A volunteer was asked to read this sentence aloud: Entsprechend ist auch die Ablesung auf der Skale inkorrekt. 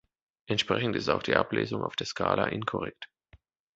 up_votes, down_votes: 0, 2